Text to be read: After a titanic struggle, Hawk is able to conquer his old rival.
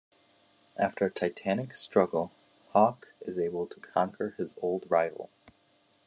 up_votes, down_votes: 2, 0